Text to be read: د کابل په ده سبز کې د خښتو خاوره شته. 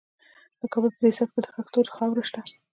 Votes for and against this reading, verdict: 0, 2, rejected